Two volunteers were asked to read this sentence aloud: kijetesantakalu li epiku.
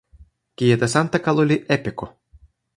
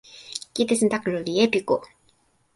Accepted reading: second